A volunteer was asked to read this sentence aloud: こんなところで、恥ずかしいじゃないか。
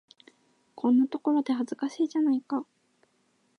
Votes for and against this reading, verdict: 2, 0, accepted